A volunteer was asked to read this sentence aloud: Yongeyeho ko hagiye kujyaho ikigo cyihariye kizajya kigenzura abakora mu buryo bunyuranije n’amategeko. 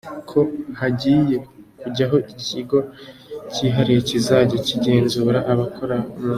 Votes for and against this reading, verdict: 0, 2, rejected